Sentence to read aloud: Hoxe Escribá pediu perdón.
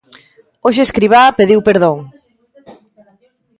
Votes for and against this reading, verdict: 0, 2, rejected